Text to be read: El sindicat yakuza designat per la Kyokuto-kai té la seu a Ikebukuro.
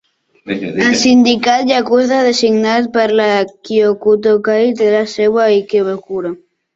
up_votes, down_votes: 2, 1